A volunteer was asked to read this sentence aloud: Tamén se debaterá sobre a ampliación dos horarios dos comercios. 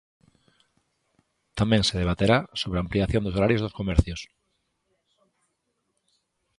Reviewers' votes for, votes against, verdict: 2, 0, accepted